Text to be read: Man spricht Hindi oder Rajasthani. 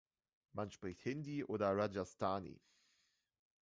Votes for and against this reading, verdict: 1, 2, rejected